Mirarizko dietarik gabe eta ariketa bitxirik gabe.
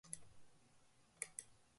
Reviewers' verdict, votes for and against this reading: rejected, 0, 4